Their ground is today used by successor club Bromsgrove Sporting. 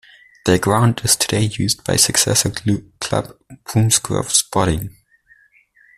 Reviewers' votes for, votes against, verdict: 1, 2, rejected